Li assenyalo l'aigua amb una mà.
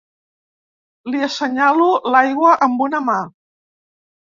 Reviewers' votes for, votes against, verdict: 2, 0, accepted